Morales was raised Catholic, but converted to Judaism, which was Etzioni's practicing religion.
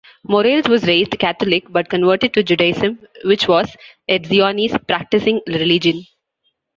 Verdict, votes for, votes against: accepted, 2, 1